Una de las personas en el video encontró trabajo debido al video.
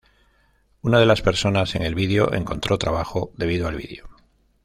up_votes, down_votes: 2, 1